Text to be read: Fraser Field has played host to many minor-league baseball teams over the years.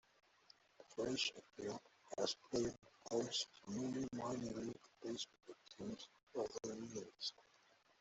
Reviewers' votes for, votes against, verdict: 0, 2, rejected